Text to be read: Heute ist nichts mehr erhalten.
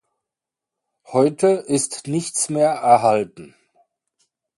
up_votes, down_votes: 2, 0